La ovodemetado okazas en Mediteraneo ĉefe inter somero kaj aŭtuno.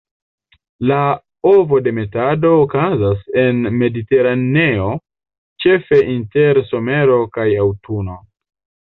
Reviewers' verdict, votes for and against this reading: rejected, 0, 2